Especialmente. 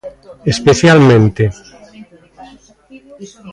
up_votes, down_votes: 1, 2